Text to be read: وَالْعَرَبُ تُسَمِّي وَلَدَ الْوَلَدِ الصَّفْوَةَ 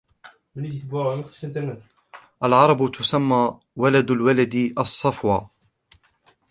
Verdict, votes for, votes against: rejected, 0, 2